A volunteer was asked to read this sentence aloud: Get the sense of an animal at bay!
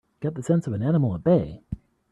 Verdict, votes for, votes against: accepted, 2, 0